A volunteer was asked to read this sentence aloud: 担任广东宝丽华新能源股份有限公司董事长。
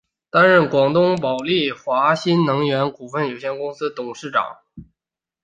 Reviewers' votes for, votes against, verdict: 3, 1, accepted